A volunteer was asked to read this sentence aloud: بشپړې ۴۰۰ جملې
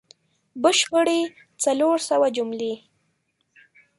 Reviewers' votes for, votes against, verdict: 0, 2, rejected